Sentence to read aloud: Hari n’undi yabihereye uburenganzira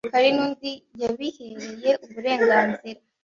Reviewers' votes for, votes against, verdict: 2, 0, accepted